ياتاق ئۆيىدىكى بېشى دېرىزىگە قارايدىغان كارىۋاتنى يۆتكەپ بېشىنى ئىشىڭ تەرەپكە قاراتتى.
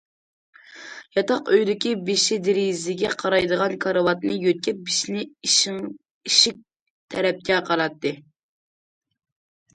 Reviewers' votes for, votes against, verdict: 1, 2, rejected